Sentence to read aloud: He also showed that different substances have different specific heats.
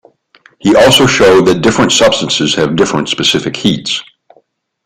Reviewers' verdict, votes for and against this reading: accepted, 2, 0